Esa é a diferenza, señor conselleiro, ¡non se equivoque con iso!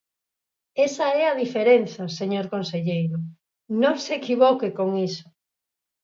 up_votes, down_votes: 4, 2